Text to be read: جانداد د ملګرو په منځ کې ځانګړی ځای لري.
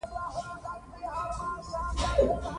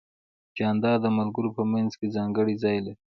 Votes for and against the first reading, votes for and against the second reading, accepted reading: 0, 2, 2, 1, second